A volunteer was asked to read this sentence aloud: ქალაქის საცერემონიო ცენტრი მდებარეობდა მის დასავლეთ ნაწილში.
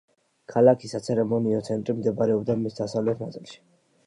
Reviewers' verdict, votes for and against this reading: accepted, 2, 1